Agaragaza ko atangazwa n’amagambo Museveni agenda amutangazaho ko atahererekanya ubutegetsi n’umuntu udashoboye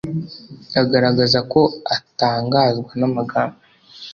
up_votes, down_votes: 1, 2